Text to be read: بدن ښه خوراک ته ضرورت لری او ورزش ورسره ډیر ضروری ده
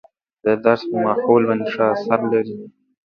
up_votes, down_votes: 0, 2